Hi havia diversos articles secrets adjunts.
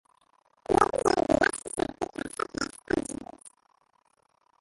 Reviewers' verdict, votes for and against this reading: rejected, 0, 2